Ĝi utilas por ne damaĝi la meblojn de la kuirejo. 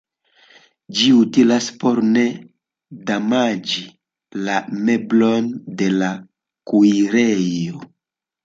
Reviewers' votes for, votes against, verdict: 2, 1, accepted